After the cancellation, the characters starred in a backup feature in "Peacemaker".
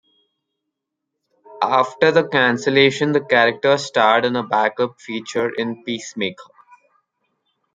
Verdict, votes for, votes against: accepted, 2, 0